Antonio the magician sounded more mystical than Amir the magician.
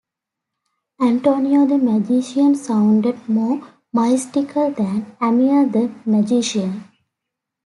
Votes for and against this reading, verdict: 2, 1, accepted